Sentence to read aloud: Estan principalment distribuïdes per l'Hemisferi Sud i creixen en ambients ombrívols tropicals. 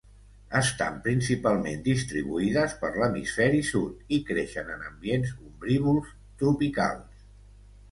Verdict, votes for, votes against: accepted, 2, 0